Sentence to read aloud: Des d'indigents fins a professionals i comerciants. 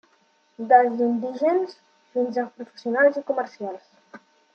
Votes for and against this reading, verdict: 2, 1, accepted